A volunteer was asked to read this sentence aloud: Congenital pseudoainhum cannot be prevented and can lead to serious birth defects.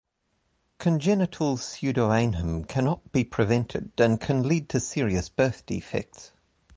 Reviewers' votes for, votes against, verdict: 2, 0, accepted